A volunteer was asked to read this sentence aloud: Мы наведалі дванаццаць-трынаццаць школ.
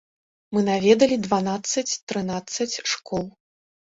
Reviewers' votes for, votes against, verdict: 2, 0, accepted